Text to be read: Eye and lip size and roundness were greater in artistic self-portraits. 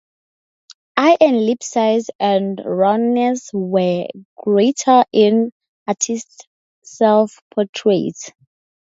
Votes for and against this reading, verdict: 0, 4, rejected